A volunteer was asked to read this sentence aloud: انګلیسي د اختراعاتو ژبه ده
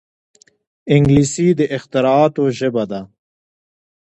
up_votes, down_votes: 2, 1